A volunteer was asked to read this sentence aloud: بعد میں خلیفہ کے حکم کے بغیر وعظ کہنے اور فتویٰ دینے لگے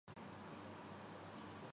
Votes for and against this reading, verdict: 0, 3, rejected